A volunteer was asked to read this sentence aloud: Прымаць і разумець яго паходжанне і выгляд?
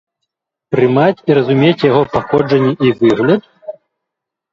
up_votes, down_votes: 1, 3